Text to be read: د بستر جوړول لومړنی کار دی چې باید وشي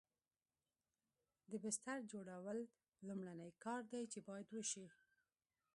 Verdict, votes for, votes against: accepted, 2, 1